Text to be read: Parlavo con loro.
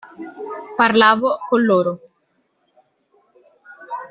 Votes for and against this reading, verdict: 2, 0, accepted